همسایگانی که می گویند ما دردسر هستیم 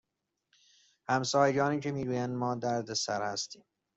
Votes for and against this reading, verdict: 2, 0, accepted